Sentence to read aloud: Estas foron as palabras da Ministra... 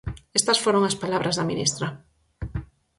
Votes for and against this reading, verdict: 6, 0, accepted